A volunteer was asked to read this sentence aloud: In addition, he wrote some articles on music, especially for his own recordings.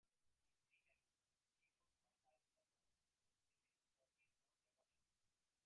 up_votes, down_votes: 0, 2